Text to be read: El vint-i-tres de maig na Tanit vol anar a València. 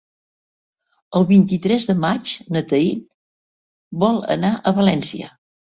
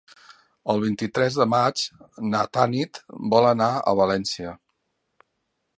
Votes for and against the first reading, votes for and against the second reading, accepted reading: 0, 2, 4, 1, second